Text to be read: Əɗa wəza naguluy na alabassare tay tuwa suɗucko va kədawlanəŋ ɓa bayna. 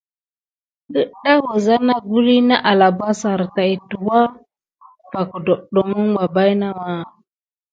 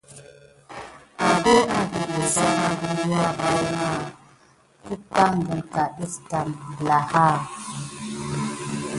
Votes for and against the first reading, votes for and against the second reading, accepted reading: 2, 0, 1, 2, first